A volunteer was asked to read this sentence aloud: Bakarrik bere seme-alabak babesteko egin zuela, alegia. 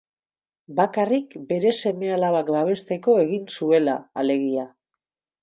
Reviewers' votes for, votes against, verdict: 2, 2, rejected